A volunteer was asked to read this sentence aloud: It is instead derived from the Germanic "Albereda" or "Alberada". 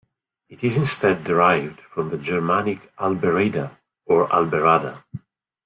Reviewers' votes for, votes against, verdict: 1, 2, rejected